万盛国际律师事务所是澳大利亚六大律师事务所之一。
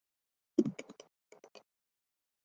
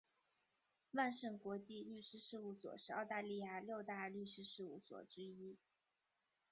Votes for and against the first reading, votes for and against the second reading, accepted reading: 0, 3, 5, 3, second